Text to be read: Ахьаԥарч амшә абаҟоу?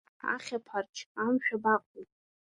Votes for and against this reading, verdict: 0, 2, rejected